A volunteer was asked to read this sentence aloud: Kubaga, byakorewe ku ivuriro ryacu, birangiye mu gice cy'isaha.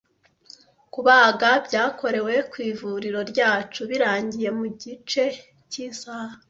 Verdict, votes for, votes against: accepted, 2, 0